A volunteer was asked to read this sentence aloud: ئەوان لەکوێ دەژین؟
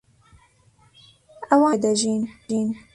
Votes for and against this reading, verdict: 0, 2, rejected